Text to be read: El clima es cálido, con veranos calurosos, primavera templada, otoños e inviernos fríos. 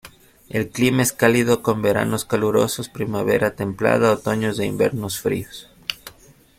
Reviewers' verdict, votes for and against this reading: accepted, 2, 1